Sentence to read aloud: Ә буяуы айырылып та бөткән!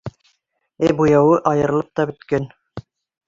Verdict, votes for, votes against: accepted, 2, 0